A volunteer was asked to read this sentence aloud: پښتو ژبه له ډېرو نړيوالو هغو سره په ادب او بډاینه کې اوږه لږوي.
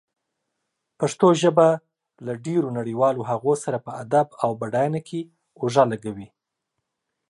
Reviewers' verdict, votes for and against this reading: accepted, 2, 0